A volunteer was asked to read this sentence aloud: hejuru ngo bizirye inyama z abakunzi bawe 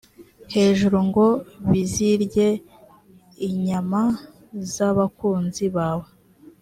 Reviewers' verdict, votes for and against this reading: accepted, 3, 0